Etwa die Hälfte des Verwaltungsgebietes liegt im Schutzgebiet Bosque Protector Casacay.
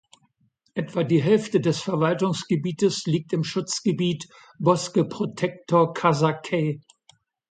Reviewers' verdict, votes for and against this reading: accepted, 2, 0